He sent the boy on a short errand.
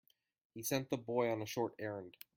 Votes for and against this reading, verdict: 2, 0, accepted